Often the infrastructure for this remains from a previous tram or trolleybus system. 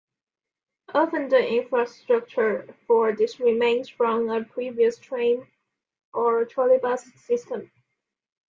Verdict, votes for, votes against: accepted, 2, 1